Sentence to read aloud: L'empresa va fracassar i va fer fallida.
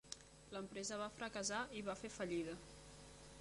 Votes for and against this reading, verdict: 1, 2, rejected